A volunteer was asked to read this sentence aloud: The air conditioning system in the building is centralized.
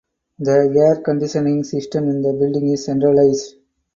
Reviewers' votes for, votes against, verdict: 0, 4, rejected